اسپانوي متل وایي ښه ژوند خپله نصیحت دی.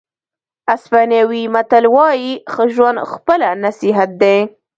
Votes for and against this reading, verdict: 0, 2, rejected